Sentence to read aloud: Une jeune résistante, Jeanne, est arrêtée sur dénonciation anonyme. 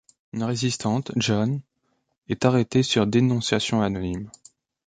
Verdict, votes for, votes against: rejected, 0, 2